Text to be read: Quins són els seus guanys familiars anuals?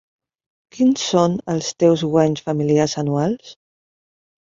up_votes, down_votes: 0, 4